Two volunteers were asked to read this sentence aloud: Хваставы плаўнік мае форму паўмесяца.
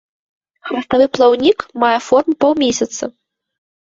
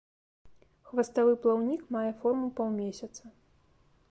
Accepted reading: second